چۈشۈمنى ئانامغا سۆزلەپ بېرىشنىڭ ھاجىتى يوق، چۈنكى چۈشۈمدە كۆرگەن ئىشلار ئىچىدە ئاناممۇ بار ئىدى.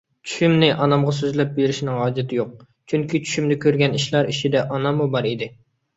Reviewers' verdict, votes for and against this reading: accepted, 2, 0